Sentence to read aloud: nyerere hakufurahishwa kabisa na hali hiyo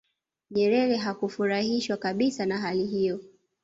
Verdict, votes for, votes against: accepted, 2, 0